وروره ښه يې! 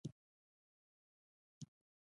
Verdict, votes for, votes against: rejected, 1, 2